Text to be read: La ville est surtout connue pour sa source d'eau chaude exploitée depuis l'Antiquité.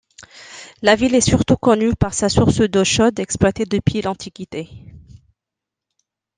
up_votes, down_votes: 0, 2